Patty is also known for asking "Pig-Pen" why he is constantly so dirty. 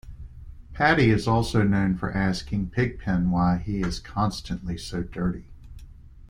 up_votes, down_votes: 2, 0